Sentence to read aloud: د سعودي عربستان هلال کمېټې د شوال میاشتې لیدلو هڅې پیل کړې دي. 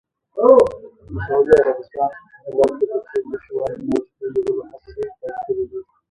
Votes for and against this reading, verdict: 0, 2, rejected